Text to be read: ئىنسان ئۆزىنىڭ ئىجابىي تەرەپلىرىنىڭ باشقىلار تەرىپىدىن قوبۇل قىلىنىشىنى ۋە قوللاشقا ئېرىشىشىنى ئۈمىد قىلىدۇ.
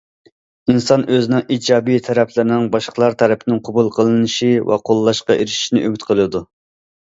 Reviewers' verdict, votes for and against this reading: rejected, 1, 2